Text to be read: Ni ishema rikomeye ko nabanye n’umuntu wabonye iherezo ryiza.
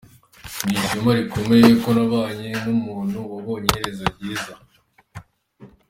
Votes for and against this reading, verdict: 2, 0, accepted